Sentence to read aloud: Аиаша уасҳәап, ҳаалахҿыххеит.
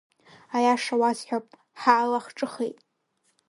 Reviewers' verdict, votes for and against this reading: rejected, 1, 3